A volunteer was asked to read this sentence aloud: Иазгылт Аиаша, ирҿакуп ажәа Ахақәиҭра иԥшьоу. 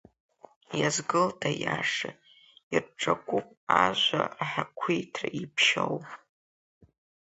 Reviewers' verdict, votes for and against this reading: rejected, 1, 2